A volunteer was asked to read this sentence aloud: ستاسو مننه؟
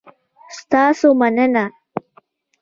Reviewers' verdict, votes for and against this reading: accepted, 2, 0